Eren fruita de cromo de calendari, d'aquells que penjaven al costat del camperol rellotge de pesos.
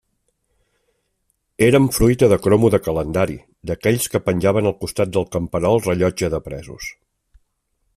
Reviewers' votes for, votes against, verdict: 1, 2, rejected